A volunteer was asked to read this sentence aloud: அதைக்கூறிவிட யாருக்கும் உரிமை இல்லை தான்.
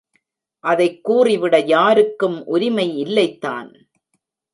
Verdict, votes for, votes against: rejected, 1, 2